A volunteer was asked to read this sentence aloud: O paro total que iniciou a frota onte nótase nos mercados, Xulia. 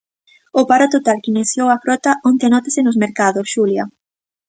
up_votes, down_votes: 2, 0